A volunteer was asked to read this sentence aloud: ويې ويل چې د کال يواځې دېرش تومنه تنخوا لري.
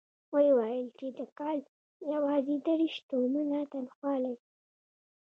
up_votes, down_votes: 1, 2